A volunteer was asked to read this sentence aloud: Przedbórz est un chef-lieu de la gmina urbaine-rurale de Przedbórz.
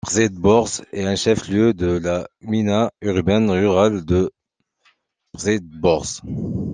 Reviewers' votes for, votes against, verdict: 0, 2, rejected